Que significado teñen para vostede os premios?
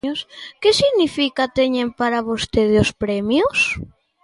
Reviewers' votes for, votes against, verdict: 0, 2, rejected